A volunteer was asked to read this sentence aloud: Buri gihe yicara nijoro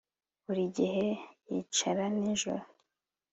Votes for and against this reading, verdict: 2, 1, accepted